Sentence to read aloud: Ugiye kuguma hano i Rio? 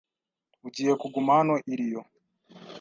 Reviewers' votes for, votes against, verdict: 2, 0, accepted